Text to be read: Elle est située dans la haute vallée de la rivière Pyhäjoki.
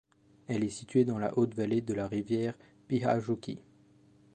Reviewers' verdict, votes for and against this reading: accepted, 2, 0